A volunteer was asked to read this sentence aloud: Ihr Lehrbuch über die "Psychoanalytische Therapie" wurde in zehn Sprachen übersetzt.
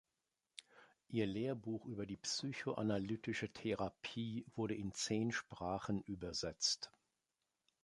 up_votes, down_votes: 2, 0